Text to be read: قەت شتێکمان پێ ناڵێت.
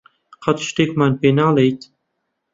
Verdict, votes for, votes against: rejected, 1, 2